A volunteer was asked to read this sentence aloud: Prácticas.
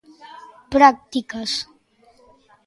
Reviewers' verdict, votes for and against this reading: accepted, 2, 0